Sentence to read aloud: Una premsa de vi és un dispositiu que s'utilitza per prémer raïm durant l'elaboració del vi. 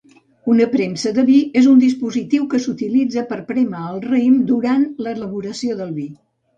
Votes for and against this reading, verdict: 0, 2, rejected